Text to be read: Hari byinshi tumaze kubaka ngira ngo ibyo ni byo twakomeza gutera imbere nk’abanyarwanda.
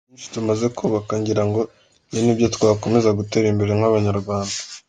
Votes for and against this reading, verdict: 0, 2, rejected